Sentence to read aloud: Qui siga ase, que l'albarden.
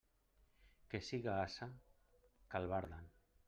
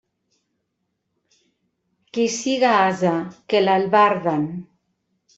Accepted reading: second